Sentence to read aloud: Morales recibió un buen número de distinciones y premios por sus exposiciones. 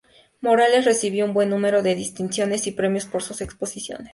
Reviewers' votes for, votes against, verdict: 2, 0, accepted